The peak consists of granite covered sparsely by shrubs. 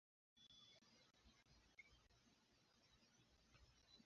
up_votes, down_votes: 0, 2